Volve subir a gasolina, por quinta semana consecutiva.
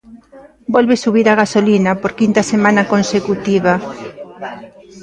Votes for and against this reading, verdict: 0, 2, rejected